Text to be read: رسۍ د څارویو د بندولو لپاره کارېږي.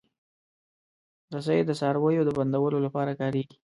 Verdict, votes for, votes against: accepted, 2, 0